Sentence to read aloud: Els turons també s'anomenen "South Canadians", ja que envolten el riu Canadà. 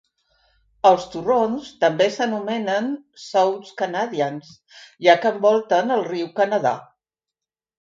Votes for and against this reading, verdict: 2, 3, rejected